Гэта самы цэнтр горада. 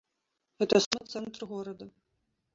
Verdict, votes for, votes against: rejected, 0, 2